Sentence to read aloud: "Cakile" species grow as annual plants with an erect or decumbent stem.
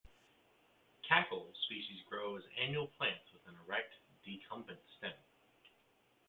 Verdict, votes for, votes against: accepted, 2, 1